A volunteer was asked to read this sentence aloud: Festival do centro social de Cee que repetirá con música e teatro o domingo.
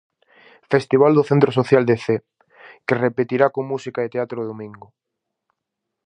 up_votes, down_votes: 4, 0